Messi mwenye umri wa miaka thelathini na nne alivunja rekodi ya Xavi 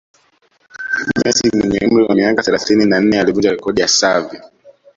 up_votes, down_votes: 0, 2